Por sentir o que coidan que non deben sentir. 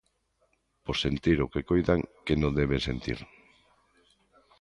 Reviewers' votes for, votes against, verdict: 2, 0, accepted